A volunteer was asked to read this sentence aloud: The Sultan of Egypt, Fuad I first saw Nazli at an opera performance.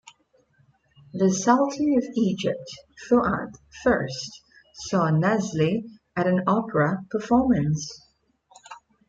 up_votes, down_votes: 0, 2